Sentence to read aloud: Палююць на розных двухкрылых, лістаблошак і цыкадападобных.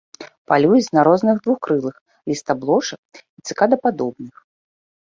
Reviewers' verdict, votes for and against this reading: accepted, 2, 0